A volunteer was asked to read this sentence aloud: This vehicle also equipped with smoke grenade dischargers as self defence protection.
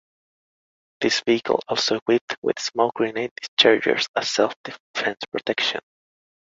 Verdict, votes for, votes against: accepted, 2, 0